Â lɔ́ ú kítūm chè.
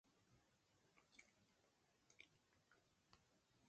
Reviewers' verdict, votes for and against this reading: rejected, 0, 2